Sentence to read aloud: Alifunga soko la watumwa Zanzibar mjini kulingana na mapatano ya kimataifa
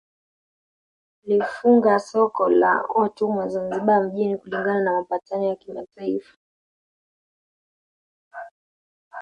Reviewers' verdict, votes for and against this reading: accepted, 2, 0